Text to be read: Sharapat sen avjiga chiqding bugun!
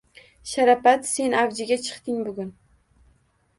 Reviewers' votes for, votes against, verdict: 2, 0, accepted